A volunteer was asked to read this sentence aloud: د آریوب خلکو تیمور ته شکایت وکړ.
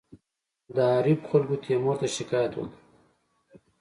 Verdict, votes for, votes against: rejected, 1, 2